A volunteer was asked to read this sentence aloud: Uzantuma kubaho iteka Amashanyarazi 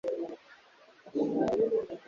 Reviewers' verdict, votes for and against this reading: rejected, 1, 2